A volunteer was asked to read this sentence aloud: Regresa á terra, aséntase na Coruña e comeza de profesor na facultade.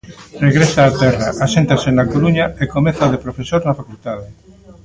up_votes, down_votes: 2, 0